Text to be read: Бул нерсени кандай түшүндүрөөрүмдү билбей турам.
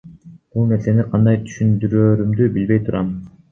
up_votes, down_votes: 2, 1